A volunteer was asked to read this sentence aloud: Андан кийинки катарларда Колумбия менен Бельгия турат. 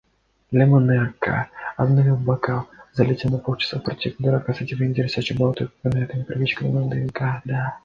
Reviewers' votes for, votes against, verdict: 0, 2, rejected